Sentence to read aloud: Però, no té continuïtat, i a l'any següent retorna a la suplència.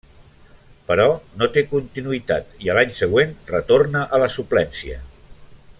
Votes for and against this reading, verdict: 3, 0, accepted